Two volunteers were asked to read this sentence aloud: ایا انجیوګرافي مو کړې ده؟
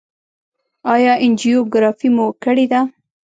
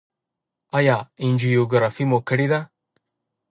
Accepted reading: second